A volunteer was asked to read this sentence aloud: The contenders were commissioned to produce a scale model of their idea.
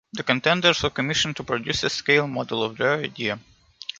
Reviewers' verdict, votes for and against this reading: rejected, 1, 2